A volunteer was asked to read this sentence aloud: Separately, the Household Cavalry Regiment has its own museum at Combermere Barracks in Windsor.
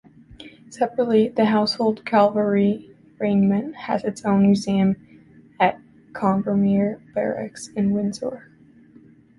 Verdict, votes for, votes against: rejected, 0, 2